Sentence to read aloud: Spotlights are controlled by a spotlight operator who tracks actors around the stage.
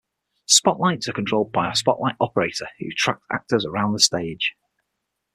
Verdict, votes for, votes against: rejected, 3, 6